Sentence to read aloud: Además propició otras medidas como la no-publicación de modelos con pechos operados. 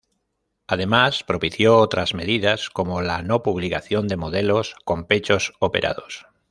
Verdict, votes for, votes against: accepted, 2, 0